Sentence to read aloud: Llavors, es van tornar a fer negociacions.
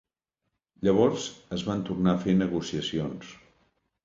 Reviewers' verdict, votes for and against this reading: accepted, 2, 0